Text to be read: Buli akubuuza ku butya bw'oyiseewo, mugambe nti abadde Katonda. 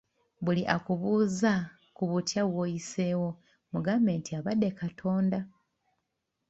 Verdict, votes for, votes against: rejected, 2, 3